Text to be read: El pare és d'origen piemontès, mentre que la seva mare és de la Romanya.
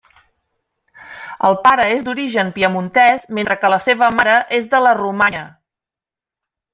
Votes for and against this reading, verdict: 1, 2, rejected